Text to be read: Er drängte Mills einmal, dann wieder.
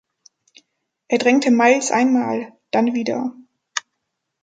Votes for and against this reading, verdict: 0, 2, rejected